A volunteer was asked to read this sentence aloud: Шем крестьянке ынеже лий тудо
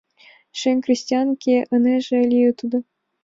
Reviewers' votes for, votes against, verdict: 2, 0, accepted